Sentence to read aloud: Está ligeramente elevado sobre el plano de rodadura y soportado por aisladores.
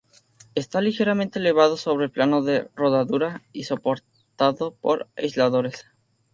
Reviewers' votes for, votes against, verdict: 2, 0, accepted